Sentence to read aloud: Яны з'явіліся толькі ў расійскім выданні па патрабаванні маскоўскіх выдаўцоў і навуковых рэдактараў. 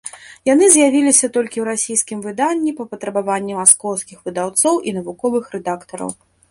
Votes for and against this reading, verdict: 2, 0, accepted